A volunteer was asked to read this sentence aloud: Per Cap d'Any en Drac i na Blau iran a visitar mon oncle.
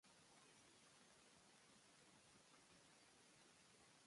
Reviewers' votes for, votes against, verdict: 0, 2, rejected